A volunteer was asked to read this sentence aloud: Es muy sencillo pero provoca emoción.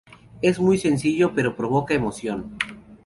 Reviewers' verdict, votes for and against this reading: accepted, 4, 0